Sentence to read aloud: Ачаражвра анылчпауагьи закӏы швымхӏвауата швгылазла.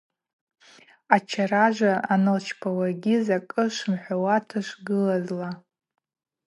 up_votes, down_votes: 4, 0